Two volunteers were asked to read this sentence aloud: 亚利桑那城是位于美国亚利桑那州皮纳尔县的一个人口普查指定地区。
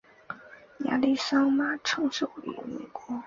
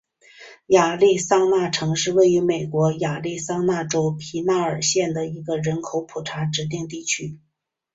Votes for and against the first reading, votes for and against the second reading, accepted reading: 0, 4, 4, 0, second